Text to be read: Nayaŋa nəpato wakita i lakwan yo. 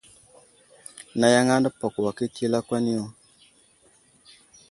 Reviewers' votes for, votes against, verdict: 2, 0, accepted